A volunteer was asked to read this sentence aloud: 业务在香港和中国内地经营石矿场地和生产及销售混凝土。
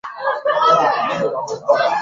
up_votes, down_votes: 0, 2